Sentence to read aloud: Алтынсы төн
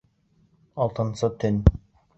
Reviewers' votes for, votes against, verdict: 2, 0, accepted